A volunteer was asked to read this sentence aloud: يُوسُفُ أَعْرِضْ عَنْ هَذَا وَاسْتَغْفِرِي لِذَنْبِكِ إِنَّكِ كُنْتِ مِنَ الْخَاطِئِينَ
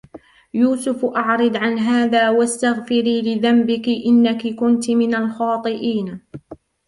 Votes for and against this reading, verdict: 2, 0, accepted